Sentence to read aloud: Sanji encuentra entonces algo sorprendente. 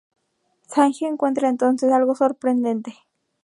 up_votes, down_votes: 0, 2